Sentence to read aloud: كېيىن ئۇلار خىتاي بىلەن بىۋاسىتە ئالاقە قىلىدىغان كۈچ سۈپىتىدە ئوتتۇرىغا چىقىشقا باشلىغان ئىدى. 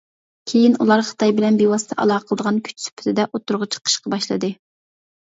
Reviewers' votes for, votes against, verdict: 0, 2, rejected